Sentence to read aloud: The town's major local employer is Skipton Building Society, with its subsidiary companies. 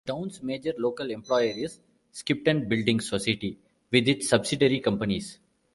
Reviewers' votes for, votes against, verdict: 2, 1, accepted